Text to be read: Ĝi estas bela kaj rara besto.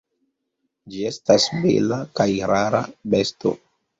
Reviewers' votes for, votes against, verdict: 2, 0, accepted